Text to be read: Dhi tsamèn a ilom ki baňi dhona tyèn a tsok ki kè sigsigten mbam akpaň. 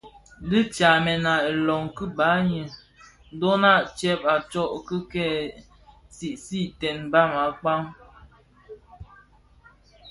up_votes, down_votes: 2, 0